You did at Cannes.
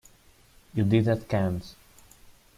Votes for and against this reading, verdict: 2, 0, accepted